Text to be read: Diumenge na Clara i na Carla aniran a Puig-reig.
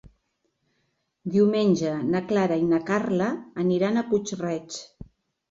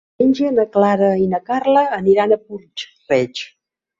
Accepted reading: first